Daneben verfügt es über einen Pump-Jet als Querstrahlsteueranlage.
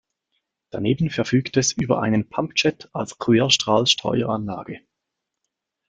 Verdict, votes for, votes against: rejected, 1, 2